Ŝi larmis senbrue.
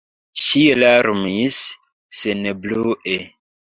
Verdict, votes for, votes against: accepted, 2, 0